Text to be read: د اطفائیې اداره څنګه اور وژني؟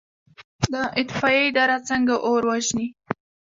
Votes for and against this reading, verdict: 1, 2, rejected